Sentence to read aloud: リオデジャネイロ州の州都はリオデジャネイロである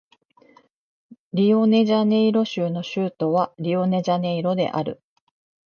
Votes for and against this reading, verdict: 1, 2, rejected